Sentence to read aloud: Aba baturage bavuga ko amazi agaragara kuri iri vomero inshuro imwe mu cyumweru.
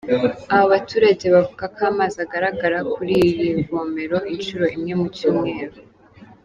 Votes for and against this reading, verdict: 2, 0, accepted